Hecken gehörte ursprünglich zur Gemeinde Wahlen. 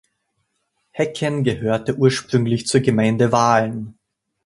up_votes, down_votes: 2, 0